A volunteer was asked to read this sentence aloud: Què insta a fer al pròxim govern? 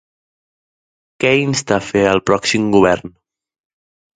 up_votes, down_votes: 2, 0